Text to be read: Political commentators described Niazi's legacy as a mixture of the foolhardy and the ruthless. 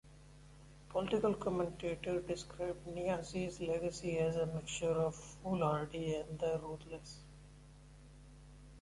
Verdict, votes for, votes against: rejected, 0, 2